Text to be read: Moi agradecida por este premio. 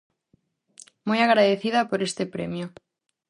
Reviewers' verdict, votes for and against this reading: accepted, 4, 0